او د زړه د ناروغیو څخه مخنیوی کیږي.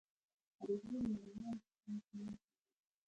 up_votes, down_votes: 1, 2